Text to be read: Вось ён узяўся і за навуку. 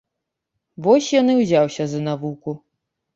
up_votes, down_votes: 1, 2